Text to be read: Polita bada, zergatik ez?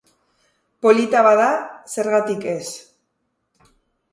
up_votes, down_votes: 2, 0